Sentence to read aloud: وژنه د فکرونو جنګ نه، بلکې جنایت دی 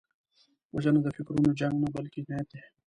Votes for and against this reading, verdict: 2, 0, accepted